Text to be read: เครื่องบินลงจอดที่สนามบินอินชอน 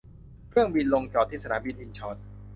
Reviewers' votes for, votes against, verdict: 2, 0, accepted